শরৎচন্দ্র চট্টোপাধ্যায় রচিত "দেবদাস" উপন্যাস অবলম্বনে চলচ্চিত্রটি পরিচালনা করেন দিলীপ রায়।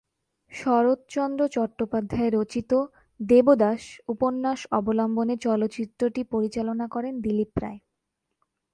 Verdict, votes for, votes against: accepted, 12, 1